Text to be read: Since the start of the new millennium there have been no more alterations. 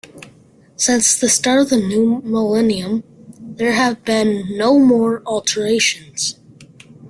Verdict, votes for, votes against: accepted, 3, 2